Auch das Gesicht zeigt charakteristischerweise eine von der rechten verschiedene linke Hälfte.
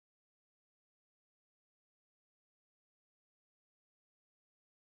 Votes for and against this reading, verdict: 0, 4, rejected